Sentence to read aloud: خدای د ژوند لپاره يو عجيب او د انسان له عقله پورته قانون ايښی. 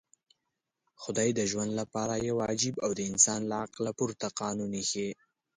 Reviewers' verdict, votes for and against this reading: accepted, 2, 1